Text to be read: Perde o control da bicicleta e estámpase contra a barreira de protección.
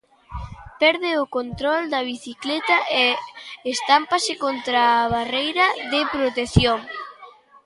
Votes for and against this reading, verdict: 1, 2, rejected